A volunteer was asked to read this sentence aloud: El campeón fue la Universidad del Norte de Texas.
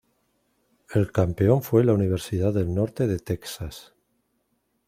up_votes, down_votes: 0, 2